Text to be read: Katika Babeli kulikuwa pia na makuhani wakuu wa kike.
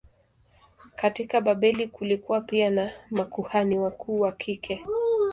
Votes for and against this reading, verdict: 2, 1, accepted